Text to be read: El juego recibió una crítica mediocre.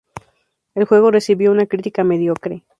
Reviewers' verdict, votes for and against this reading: accepted, 2, 0